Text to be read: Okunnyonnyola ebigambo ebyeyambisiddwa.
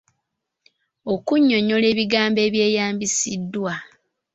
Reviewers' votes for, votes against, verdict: 2, 0, accepted